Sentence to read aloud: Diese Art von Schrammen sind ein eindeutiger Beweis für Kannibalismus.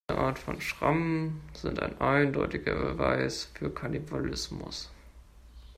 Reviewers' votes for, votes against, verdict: 0, 2, rejected